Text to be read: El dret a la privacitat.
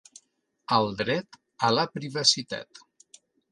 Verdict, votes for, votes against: accepted, 3, 0